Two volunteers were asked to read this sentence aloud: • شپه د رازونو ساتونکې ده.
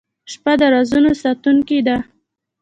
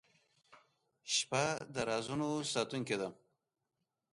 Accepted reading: second